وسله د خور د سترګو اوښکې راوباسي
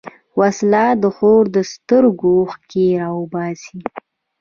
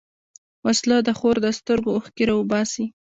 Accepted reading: second